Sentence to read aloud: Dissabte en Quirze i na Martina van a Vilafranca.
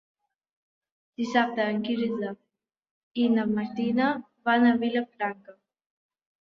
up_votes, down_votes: 0, 2